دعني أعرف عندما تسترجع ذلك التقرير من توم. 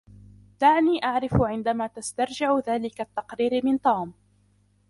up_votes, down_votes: 0, 2